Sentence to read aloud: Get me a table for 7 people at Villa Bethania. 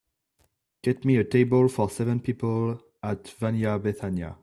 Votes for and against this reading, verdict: 0, 2, rejected